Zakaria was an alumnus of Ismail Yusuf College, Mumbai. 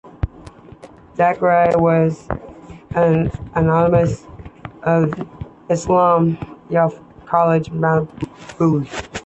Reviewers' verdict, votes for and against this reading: rejected, 1, 2